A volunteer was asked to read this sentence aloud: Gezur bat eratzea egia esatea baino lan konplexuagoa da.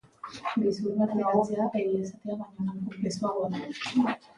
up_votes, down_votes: 0, 2